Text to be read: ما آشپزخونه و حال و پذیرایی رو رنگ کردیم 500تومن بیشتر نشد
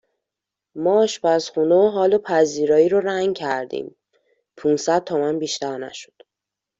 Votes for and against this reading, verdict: 0, 2, rejected